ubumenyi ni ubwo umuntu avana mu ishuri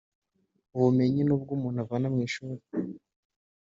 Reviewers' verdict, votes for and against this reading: accepted, 2, 0